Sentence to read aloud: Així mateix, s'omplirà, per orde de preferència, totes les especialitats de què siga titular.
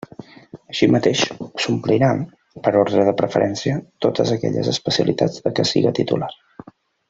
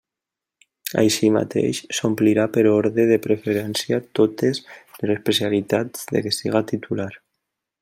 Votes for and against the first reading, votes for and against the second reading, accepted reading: 0, 2, 2, 0, second